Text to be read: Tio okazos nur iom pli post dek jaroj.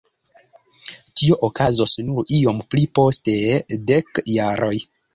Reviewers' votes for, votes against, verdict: 1, 2, rejected